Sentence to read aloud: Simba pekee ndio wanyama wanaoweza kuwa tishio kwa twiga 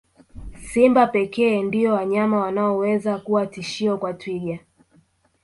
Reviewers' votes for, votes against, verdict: 1, 2, rejected